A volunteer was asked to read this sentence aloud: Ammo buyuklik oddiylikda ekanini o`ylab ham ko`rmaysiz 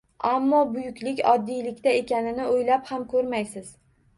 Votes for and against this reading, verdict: 1, 2, rejected